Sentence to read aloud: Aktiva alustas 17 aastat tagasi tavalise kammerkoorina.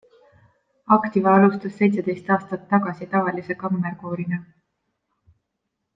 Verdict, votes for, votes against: rejected, 0, 2